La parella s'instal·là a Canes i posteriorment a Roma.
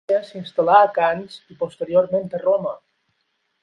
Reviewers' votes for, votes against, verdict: 0, 12, rejected